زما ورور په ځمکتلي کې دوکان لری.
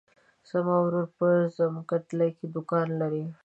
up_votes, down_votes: 1, 2